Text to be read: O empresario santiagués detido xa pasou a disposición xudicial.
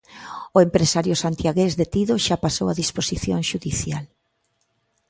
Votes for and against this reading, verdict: 2, 0, accepted